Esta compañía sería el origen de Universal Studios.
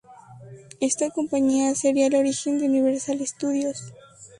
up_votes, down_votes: 2, 0